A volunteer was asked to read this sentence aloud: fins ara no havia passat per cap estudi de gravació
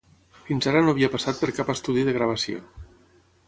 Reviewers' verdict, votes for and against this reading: accepted, 6, 0